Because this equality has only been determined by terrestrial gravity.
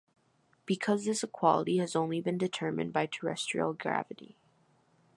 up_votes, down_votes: 2, 0